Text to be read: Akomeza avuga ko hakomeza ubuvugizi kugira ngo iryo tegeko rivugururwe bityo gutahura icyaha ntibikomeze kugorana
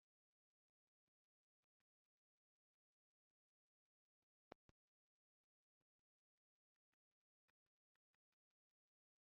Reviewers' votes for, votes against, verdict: 0, 2, rejected